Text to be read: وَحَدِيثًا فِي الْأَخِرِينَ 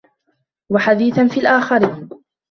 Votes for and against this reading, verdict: 0, 2, rejected